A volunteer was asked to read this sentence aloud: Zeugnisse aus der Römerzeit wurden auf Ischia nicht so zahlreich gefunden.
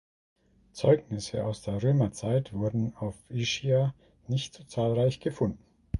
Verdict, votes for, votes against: rejected, 1, 2